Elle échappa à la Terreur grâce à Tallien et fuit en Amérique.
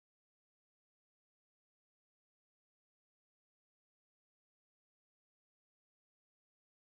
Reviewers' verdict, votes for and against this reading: rejected, 0, 2